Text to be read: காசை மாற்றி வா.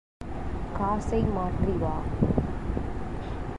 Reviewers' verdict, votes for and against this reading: accepted, 3, 0